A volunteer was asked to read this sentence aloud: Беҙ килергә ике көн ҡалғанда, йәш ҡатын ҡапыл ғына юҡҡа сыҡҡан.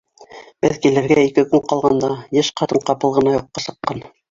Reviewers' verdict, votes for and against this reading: accepted, 4, 2